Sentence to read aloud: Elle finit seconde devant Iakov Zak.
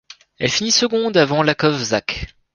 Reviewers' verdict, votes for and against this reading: rejected, 1, 2